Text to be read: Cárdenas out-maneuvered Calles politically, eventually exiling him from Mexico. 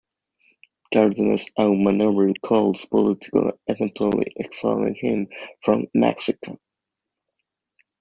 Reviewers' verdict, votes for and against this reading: accepted, 2, 1